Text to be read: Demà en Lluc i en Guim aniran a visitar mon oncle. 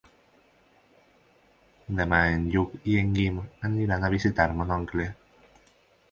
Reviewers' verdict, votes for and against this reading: accepted, 6, 0